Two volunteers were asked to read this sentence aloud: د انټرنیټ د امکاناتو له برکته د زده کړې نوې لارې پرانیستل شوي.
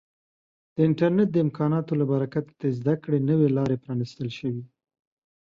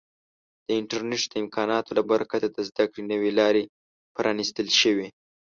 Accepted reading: first